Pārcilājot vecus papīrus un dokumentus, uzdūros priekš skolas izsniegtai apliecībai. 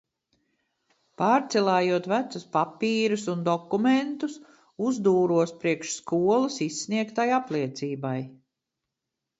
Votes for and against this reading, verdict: 2, 0, accepted